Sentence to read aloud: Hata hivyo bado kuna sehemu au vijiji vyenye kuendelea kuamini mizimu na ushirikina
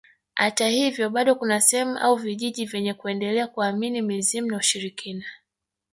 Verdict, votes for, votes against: rejected, 1, 2